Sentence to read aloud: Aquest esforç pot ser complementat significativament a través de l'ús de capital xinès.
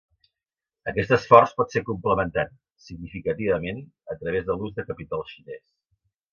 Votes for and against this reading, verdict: 2, 0, accepted